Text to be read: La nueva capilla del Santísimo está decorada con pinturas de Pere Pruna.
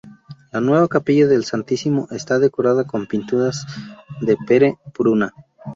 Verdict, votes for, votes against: rejected, 2, 2